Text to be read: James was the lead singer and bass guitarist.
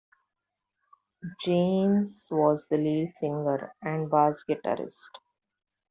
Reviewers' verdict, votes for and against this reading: rejected, 0, 2